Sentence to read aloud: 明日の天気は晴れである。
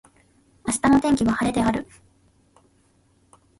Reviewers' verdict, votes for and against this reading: accepted, 2, 0